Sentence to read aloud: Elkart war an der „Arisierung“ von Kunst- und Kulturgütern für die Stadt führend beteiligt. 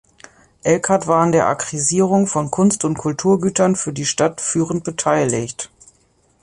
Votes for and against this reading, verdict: 0, 2, rejected